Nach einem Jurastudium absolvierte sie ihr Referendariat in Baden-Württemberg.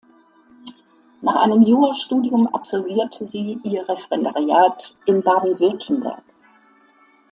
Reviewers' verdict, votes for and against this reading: accepted, 2, 0